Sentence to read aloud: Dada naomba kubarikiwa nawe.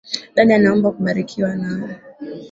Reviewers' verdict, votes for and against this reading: accepted, 2, 1